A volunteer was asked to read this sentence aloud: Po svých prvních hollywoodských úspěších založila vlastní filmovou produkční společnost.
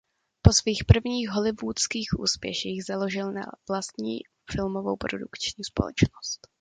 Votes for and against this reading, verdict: 1, 2, rejected